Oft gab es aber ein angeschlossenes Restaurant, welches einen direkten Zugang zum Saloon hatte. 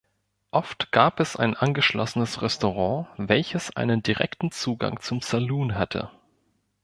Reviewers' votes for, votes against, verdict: 2, 3, rejected